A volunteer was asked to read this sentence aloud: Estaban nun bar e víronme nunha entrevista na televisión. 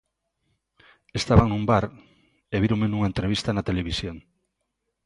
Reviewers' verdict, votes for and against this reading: accepted, 2, 0